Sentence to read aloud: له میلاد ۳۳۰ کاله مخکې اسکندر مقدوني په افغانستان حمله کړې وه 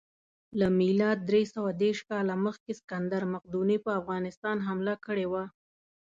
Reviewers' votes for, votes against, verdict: 0, 2, rejected